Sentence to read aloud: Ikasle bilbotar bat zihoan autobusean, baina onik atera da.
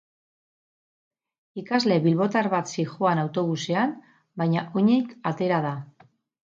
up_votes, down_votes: 0, 2